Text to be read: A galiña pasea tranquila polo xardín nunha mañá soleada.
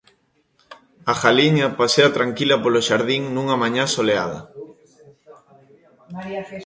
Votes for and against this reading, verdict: 2, 0, accepted